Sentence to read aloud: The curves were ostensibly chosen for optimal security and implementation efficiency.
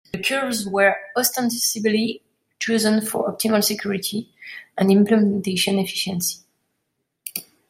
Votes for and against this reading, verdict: 2, 1, accepted